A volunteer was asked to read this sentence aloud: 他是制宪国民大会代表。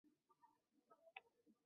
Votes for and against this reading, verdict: 1, 3, rejected